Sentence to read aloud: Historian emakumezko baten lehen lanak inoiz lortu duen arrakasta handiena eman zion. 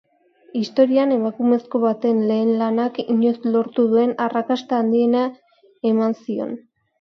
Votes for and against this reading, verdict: 2, 0, accepted